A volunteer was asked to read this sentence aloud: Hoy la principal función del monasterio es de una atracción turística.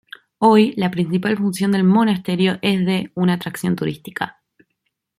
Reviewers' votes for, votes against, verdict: 2, 0, accepted